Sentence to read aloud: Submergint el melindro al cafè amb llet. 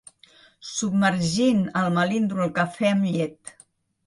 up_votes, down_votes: 3, 2